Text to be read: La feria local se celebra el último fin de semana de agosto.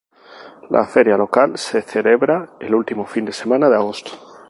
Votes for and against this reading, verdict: 2, 0, accepted